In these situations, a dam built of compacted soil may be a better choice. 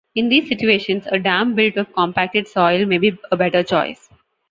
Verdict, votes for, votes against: rejected, 1, 2